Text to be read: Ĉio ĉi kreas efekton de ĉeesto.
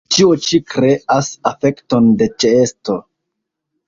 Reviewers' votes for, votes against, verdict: 2, 0, accepted